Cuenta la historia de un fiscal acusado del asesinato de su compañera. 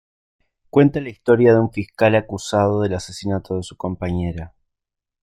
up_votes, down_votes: 1, 2